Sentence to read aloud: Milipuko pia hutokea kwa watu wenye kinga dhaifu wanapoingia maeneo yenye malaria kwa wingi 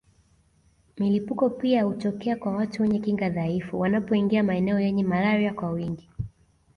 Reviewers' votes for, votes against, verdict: 2, 1, accepted